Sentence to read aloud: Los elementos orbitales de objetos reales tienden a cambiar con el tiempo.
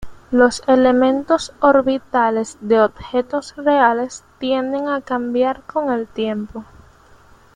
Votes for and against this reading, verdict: 2, 0, accepted